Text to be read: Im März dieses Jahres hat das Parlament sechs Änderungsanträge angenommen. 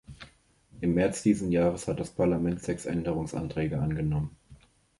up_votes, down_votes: 0, 2